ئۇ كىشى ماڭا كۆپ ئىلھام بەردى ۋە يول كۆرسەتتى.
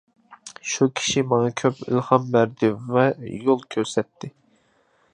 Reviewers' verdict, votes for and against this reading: accepted, 2, 1